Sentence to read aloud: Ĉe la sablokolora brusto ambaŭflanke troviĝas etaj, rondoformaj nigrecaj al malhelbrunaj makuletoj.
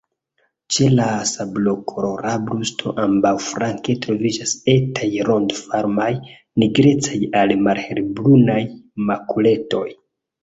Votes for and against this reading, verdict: 2, 0, accepted